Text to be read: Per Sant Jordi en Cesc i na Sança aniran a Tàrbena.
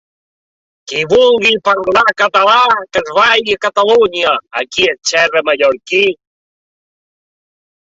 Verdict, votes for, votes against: rejected, 0, 2